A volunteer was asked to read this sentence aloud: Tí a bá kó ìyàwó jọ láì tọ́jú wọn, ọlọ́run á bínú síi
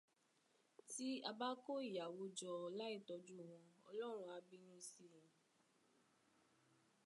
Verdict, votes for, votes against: accepted, 2, 0